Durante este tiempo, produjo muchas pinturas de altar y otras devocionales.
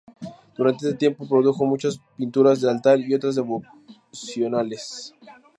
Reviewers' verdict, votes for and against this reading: rejected, 0, 2